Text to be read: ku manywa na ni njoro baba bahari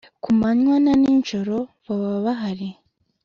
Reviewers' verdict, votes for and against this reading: accepted, 2, 0